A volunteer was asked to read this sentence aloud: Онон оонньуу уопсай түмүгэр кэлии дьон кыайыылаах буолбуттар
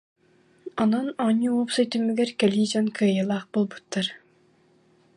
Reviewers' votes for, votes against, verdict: 2, 0, accepted